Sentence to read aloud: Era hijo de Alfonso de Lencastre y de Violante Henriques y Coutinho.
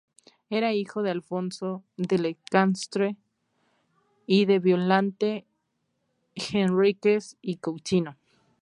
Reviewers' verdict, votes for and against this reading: rejected, 0, 4